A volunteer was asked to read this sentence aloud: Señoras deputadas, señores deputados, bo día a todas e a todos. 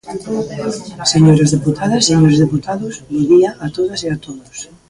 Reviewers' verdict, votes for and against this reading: accepted, 2, 1